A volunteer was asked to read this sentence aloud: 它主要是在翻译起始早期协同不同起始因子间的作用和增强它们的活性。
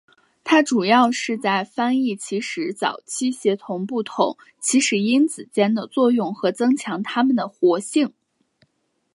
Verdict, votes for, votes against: accepted, 2, 0